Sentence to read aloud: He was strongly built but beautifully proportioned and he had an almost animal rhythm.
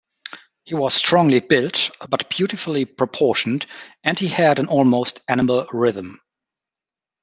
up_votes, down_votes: 2, 0